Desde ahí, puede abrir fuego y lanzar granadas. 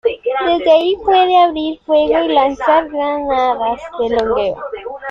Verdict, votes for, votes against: accepted, 2, 1